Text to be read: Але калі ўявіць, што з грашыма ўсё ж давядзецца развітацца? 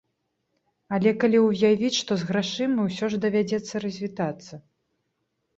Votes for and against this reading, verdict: 2, 0, accepted